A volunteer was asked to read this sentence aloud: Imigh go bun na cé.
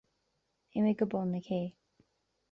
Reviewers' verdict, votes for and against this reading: accepted, 2, 0